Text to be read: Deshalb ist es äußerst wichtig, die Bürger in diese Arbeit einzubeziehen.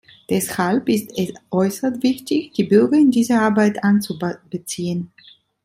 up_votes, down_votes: 2, 3